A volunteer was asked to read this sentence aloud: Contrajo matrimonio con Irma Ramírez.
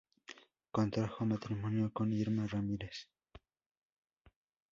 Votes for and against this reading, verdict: 2, 2, rejected